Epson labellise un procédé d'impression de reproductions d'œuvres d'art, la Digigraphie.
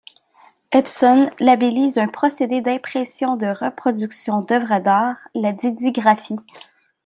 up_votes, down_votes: 2, 1